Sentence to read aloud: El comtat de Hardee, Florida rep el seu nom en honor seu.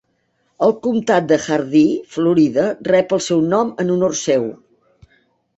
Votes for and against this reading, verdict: 2, 0, accepted